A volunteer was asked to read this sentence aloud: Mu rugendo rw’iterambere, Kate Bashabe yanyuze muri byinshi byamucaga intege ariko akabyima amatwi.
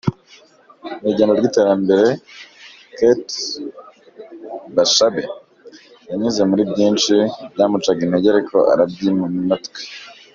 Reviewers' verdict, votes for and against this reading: rejected, 0, 2